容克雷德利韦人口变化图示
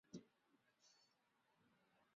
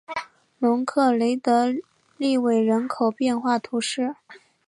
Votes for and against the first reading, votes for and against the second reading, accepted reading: 0, 2, 2, 0, second